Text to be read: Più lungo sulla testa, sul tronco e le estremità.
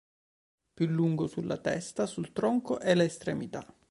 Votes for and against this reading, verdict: 2, 0, accepted